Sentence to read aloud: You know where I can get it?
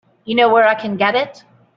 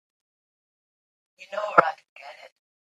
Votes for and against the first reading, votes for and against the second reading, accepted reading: 4, 0, 0, 3, first